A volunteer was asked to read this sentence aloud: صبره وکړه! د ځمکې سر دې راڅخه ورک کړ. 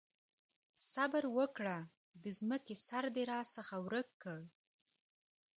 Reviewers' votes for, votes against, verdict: 2, 0, accepted